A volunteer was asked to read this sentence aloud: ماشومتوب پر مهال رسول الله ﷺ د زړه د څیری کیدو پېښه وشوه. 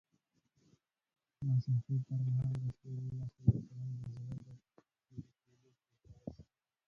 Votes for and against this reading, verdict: 0, 2, rejected